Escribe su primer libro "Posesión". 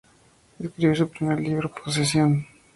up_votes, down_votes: 2, 0